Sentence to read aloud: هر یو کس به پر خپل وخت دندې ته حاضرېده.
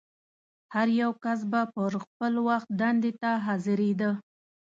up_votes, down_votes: 2, 0